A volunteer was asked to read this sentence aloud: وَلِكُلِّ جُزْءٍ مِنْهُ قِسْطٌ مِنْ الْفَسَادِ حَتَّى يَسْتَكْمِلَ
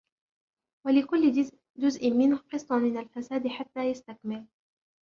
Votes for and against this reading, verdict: 2, 0, accepted